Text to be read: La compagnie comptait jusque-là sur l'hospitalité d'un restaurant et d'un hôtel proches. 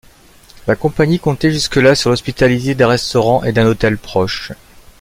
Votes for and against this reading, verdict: 1, 2, rejected